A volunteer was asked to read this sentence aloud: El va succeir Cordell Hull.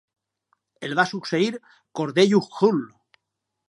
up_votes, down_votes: 2, 0